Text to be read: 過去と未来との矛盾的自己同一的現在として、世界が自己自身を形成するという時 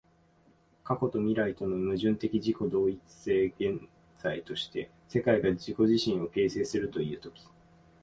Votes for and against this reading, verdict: 1, 2, rejected